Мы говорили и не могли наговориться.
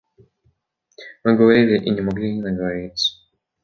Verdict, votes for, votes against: rejected, 1, 2